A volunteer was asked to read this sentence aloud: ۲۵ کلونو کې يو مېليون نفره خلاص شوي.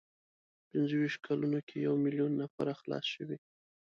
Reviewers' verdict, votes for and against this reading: rejected, 0, 2